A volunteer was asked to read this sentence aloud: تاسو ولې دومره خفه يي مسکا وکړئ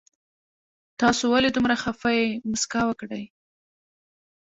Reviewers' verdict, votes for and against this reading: rejected, 1, 2